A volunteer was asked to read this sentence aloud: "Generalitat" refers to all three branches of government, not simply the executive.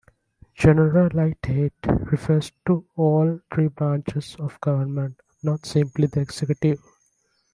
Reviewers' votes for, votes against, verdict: 2, 3, rejected